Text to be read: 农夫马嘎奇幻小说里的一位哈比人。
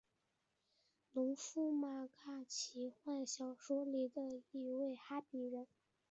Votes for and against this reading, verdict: 1, 2, rejected